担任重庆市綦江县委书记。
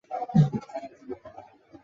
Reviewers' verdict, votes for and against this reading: rejected, 2, 5